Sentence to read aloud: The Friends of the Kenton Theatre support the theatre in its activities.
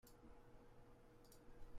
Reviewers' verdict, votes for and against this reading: rejected, 0, 2